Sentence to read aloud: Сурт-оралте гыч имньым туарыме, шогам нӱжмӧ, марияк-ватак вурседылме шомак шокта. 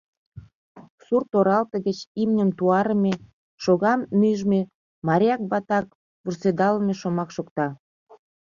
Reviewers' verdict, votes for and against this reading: rejected, 0, 2